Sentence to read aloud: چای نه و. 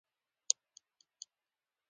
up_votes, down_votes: 2, 1